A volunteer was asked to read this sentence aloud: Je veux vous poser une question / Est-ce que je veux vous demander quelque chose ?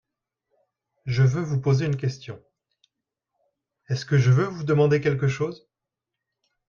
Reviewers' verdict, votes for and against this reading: accepted, 2, 0